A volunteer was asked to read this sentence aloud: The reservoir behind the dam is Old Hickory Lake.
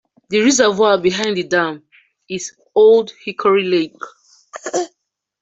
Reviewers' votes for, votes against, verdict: 2, 1, accepted